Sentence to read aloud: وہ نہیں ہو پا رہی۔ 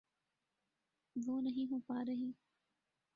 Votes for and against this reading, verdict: 1, 2, rejected